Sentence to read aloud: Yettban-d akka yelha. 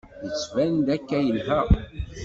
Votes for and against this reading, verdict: 2, 0, accepted